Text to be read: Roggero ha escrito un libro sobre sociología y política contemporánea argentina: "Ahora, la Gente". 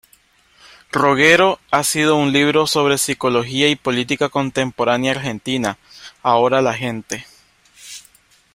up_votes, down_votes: 0, 2